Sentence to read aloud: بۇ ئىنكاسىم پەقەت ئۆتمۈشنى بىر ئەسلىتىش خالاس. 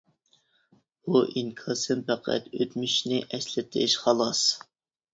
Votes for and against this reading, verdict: 0, 2, rejected